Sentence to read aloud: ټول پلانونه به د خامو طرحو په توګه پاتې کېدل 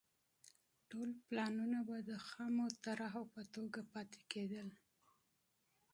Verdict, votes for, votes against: rejected, 0, 2